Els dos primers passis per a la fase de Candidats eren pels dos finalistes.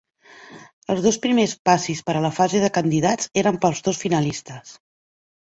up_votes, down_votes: 2, 0